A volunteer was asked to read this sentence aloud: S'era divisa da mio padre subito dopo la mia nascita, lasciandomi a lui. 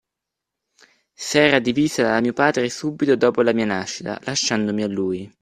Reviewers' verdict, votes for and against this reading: accepted, 2, 0